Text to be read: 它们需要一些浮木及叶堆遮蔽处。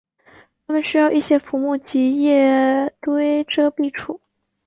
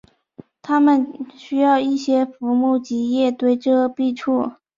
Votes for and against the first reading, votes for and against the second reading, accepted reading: 2, 2, 2, 0, second